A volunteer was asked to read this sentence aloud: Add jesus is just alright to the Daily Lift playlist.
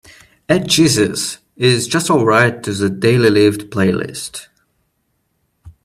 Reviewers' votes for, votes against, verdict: 2, 0, accepted